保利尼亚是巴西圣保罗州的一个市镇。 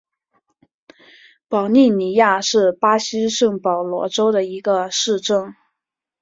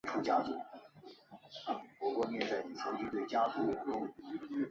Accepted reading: first